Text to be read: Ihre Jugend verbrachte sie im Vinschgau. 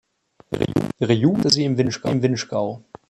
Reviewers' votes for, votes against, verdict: 0, 2, rejected